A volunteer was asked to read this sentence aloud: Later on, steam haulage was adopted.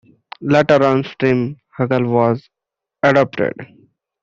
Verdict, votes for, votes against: rejected, 1, 2